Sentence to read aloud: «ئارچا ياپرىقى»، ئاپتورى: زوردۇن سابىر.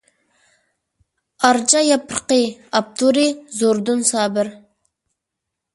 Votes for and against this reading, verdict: 2, 0, accepted